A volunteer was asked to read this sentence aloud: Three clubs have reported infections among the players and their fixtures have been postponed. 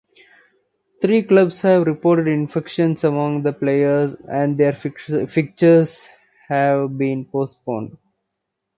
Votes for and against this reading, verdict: 1, 2, rejected